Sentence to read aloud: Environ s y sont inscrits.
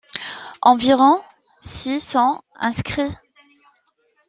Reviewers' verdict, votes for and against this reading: accepted, 2, 1